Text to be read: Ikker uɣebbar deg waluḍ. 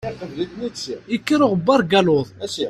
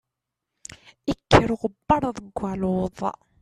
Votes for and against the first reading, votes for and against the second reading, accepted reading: 0, 2, 2, 0, second